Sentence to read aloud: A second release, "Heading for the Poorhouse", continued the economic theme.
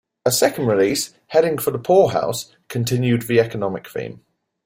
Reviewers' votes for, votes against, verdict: 3, 0, accepted